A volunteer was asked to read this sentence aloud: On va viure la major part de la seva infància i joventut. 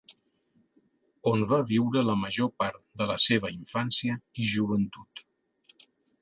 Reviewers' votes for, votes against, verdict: 2, 0, accepted